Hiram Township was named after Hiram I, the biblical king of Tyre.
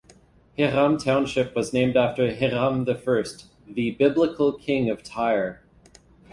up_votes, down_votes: 2, 0